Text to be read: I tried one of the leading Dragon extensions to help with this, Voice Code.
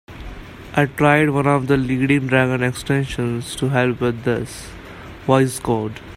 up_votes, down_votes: 2, 1